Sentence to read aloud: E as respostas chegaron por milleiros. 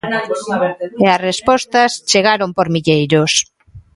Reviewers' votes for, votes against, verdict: 1, 2, rejected